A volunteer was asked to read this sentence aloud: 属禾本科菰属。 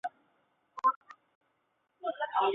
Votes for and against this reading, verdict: 0, 5, rejected